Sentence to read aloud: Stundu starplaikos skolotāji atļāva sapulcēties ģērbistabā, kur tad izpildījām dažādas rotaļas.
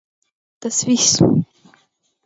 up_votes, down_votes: 0, 4